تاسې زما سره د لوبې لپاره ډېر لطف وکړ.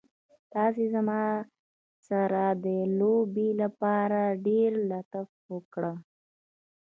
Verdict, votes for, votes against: rejected, 1, 2